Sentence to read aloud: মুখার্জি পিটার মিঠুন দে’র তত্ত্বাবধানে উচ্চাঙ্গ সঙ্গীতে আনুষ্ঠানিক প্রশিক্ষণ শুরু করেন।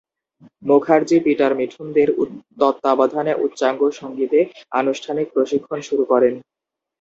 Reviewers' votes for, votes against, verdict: 2, 0, accepted